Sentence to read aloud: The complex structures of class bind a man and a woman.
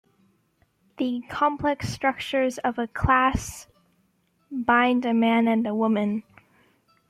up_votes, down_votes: 0, 2